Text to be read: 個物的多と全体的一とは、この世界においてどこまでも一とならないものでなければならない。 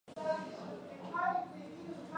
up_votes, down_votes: 0, 2